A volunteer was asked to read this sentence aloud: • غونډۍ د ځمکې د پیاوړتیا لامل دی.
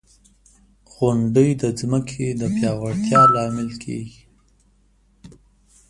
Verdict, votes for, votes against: accepted, 2, 0